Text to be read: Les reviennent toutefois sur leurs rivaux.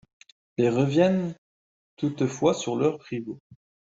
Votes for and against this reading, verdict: 0, 2, rejected